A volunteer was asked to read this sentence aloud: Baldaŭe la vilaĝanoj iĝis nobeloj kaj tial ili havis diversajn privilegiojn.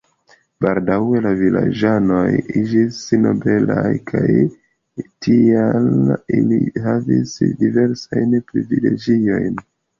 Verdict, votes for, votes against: rejected, 0, 2